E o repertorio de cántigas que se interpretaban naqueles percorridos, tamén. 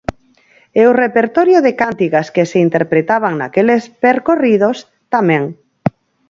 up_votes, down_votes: 0, 4